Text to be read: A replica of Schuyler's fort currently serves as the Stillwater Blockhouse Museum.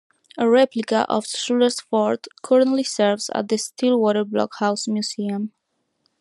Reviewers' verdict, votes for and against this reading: rejected, 1, 2